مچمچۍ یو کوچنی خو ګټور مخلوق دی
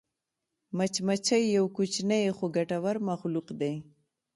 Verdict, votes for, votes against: accepted, 2, 0